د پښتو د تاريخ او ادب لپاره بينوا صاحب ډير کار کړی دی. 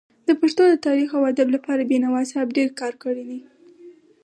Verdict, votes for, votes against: accepted, 4, 0